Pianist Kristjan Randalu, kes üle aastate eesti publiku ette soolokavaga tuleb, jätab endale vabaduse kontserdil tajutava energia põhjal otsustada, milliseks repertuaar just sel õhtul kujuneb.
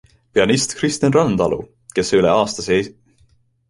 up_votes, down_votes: 0, 2